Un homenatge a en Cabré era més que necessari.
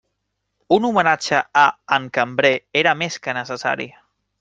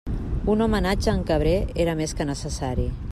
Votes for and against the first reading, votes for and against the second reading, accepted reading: 0, 2, 2, 0, second